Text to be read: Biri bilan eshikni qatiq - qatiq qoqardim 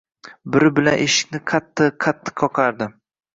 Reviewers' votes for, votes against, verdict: 2, 0, accepted